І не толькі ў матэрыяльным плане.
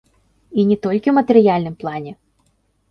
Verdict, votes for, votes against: rejected, 0, 2